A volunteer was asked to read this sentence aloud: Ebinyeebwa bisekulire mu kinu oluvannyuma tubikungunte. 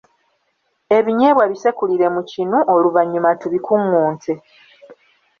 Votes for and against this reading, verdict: 2, 0, accepted